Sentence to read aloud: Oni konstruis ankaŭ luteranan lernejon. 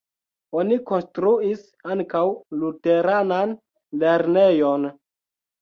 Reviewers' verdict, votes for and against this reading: accepted, 2, 0